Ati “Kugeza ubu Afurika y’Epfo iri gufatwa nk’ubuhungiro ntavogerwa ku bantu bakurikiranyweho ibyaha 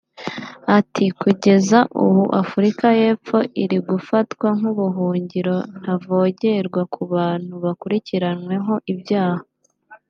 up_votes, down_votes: 2, 0